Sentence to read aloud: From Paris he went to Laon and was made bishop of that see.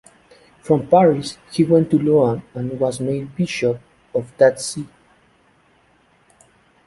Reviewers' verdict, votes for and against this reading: rejected, 0, 2